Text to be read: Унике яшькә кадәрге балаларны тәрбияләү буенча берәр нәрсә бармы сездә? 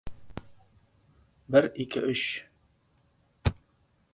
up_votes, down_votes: 0, 2